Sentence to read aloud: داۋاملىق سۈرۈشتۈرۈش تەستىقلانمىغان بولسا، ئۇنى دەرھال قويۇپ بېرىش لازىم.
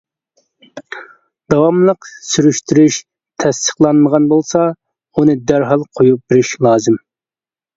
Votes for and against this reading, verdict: 2, 0, accepted